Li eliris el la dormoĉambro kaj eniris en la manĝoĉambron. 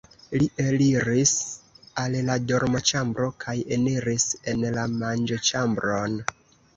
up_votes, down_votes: 1, 2